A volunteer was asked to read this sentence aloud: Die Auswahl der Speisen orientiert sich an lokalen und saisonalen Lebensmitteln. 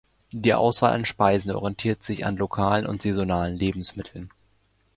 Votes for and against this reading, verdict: 1, 2, rejected